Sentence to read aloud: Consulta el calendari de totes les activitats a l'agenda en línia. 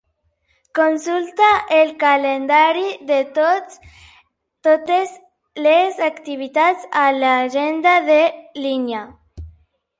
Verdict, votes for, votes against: rejected, 0, 6